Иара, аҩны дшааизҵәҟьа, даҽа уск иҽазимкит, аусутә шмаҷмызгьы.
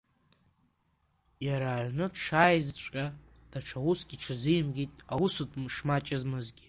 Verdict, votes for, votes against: rejected, 0, 2